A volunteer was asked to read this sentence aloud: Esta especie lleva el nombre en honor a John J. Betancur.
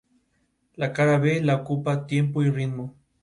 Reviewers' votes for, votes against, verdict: 0, 2, rejected